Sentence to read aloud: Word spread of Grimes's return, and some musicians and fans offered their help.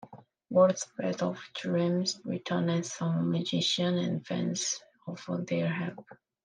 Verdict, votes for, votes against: rejected, 0, 2